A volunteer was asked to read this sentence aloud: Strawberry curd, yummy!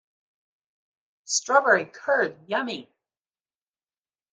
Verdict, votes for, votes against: accepted, 2, 0